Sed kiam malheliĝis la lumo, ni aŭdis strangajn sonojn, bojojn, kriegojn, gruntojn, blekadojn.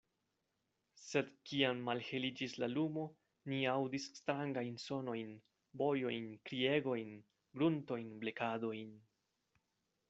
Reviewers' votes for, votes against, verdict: 2, 0, accepted